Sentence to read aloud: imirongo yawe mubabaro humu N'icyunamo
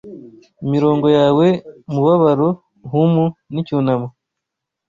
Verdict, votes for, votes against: accepted, 2, 1